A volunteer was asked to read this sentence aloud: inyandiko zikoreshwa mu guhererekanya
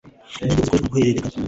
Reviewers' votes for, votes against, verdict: 0, 2, rejected